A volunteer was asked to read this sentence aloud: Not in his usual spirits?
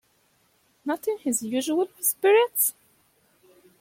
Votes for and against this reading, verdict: 2, 1, accepted